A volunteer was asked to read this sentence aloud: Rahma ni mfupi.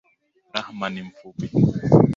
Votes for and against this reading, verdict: 2, 0, accepted